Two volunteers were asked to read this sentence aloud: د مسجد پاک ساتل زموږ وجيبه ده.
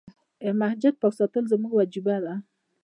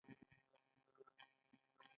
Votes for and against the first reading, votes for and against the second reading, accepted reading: 0, 2, 2, 1, second